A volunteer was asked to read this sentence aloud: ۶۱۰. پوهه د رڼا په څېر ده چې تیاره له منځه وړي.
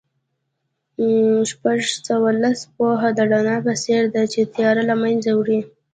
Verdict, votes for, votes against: rejected, 0, 2